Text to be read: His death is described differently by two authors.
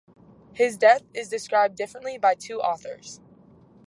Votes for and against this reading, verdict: 0, 2, rejected